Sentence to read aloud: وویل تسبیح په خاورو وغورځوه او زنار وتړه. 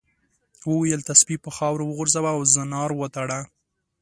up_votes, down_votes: 2, 0